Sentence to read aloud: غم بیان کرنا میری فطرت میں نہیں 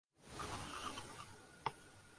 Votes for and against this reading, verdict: 2, 6, rejected